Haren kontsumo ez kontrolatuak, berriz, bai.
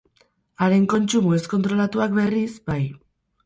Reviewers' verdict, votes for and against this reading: rejected, 0, 2